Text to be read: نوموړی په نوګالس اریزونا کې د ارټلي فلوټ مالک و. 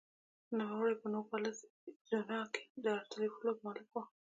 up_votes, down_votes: 2, 1